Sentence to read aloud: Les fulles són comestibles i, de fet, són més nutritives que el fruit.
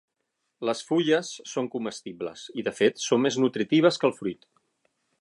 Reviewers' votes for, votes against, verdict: 6, 0, accepted